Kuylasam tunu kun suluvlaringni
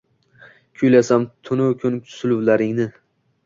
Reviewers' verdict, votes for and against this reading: rejected, 1, 2